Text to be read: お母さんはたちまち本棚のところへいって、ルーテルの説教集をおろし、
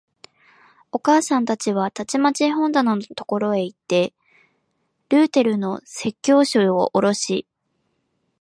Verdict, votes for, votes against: rejected, 0, 2